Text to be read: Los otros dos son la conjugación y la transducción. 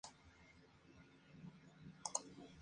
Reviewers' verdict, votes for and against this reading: rejected, 0, 2